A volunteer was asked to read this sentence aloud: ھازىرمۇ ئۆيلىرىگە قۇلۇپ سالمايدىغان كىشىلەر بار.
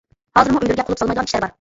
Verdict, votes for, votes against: rejected, 0, 2